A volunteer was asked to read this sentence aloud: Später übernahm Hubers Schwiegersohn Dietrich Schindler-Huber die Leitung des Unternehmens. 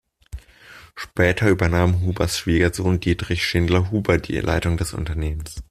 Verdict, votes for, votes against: accepted, 2, 0